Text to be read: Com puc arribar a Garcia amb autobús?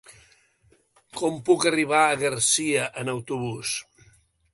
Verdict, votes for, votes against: rejected, 1, 2